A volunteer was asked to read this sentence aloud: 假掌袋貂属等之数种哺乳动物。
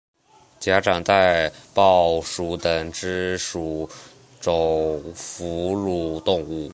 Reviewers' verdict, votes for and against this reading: accepted, 2, 0